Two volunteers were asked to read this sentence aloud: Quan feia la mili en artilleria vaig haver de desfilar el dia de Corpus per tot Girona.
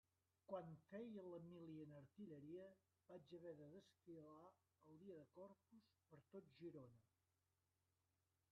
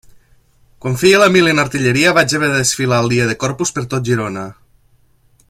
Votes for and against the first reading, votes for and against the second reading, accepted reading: 0, 2, 2, 0, second